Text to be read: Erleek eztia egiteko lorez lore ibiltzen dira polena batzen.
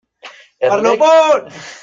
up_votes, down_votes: 0, 2